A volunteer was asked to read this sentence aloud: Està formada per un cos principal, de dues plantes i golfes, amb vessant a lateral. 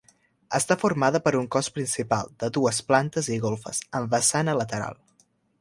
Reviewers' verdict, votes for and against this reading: accepted, 2, 0